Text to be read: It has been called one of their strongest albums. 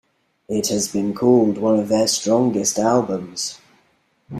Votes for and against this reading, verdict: 2, 0, accepted